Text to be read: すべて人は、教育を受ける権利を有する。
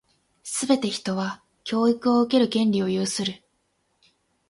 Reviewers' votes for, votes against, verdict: 8, 0, accepted